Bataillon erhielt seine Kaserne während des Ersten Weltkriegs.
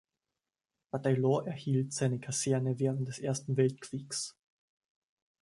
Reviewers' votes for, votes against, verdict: 1, 2, rejected